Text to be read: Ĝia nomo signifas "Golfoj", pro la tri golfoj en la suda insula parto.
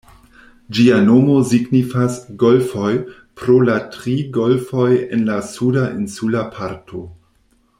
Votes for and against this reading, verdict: 1, 2, rejected